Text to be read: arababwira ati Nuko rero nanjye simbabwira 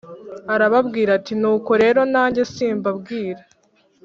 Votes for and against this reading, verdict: 2, 0, accepted